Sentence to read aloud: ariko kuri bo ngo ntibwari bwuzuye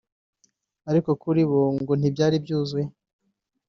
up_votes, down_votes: 1, 2